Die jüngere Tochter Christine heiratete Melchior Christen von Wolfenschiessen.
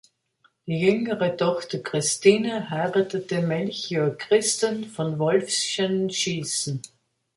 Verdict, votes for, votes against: rejected, 0, 3